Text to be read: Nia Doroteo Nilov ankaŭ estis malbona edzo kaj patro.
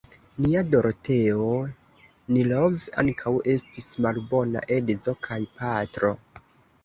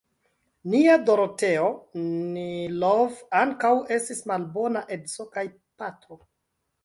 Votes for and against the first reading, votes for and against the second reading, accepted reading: 2, 0, 1, 2, first